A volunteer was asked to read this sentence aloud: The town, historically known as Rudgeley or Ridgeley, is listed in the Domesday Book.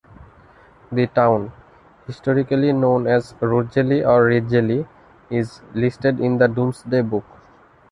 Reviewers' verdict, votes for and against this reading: rejected, 0, 2